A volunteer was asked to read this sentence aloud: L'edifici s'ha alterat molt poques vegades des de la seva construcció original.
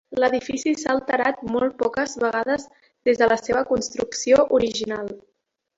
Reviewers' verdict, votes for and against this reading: accepted, 2, 1